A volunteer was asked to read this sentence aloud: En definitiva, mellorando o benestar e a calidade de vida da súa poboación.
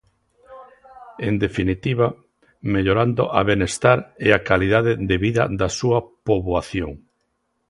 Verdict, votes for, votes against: rejected, 0, 2